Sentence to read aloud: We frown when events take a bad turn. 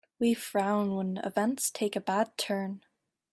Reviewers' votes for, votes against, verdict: 2, 0, accepted